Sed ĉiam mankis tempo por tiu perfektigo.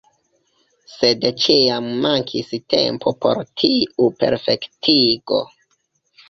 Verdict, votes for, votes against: accepted, 2, 1